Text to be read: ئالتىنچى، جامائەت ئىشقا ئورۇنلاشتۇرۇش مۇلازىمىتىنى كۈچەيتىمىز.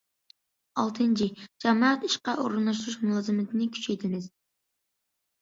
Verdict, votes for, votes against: accepted, 2, 1